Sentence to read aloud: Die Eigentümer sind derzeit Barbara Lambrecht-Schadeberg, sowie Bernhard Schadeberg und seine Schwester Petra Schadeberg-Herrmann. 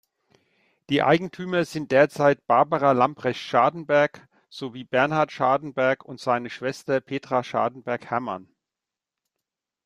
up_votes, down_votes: 0, 2